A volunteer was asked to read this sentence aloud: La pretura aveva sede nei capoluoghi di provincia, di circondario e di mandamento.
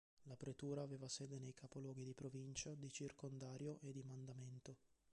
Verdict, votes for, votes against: rejected, 0, 2